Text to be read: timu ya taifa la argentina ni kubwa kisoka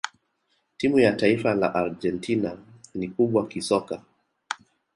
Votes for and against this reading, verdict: 2, 1, accepted